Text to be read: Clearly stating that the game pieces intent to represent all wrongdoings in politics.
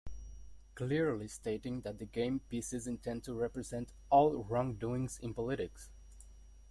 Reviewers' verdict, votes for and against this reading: rejected, 1, 2